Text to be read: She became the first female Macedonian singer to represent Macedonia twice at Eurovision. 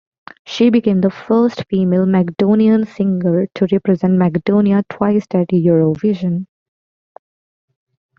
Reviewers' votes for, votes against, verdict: 0, 2, rejected